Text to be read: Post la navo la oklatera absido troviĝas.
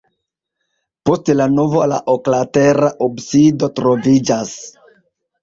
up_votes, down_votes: 0, 2